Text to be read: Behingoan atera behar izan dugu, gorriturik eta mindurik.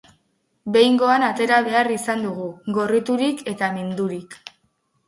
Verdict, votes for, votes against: accepted, 4, 0